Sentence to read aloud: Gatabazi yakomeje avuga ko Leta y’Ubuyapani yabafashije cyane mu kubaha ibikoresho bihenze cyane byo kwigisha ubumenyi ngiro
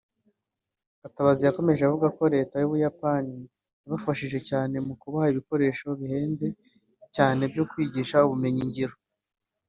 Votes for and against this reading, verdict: 2, 0, accepted